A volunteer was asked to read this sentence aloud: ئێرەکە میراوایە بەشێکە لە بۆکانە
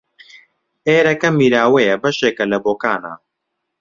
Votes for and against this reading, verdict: 2, 0, accepted